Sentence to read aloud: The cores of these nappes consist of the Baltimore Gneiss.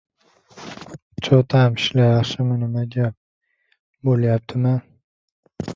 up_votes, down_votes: 1, 2